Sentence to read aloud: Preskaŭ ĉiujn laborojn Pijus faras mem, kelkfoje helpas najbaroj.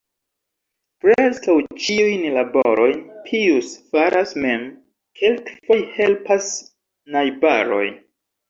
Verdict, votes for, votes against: rejected, 0, 2